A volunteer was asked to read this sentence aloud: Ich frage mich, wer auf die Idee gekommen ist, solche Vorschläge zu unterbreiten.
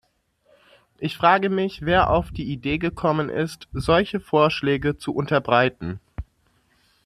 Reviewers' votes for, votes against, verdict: 2, 0, accepted